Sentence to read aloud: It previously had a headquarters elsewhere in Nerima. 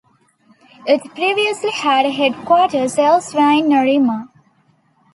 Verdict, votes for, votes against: accepted, 2, 1